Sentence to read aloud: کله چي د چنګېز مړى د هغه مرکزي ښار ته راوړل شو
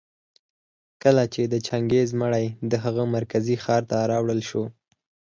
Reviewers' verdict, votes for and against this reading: accepted, 4, 0